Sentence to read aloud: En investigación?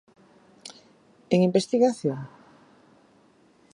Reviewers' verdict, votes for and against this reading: accepted, 4, 0